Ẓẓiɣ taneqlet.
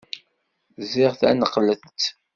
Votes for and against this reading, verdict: 2, 0, accepted